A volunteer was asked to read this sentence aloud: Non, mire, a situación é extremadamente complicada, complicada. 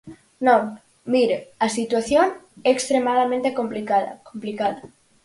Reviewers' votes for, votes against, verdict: 4, 0, accepted